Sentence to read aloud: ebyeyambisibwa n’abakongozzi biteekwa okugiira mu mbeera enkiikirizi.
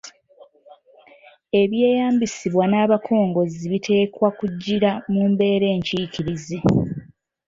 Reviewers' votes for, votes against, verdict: 2, 0, accepted